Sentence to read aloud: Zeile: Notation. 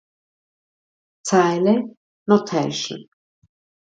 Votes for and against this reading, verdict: 0, 2, rejected